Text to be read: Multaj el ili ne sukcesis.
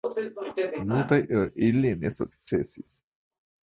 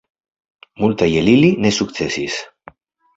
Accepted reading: second